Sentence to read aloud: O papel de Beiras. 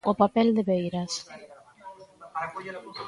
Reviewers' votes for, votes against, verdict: 2, 0, accepted